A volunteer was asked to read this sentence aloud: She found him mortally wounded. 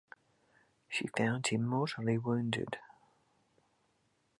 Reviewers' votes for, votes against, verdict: 2, 0, accepted